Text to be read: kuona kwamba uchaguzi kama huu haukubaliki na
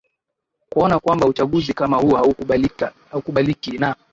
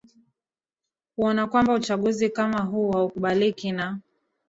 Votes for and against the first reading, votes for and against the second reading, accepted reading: 3, 2, 0, 2, first